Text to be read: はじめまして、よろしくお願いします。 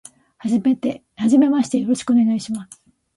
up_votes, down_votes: 0, 2